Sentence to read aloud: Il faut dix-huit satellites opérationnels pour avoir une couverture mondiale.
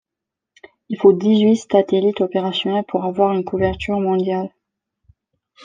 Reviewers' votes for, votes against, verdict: 1, 2, rejected